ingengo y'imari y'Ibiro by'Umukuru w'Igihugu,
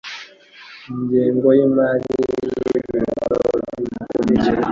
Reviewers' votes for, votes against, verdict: 0, 2, rejected